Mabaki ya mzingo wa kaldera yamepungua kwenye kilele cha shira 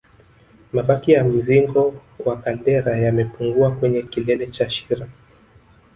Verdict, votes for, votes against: rejected, 1, 2